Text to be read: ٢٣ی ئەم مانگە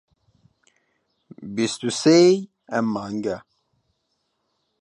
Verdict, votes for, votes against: rejected, 0, 2